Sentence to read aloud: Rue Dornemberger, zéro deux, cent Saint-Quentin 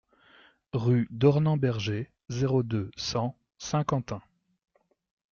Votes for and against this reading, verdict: 2, 0, accepted